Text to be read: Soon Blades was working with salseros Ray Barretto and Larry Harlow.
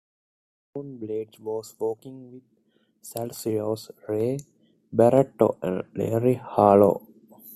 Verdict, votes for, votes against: accepted, 2, 1